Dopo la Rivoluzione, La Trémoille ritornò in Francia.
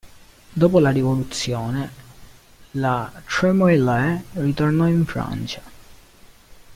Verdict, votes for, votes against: rejected, 1, 2